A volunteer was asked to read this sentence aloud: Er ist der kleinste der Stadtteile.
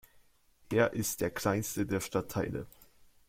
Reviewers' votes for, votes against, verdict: 2, 1, accepted